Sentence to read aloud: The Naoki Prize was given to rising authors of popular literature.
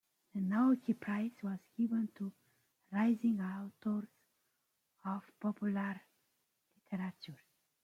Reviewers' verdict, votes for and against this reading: rejected, 0, 2